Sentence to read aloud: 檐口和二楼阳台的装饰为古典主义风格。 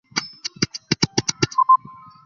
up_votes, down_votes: 0, 3